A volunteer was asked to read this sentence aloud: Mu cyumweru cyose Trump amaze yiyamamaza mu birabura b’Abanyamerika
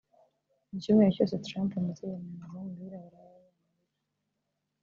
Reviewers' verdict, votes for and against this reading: rejected, 1, 3